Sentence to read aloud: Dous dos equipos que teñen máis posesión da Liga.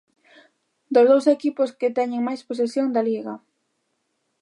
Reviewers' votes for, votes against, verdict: 2, 1, accepted